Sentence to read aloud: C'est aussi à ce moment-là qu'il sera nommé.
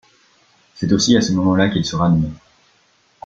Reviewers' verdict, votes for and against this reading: rejected, 1, 2